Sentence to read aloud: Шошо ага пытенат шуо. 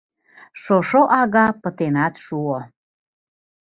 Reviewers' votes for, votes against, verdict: 3, 2, accepted